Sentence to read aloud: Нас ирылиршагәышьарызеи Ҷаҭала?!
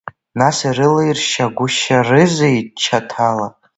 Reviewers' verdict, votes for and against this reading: rejected, 0, 2